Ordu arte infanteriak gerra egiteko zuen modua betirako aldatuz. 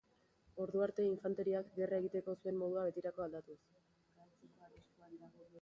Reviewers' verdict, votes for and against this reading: rejected, 0, 2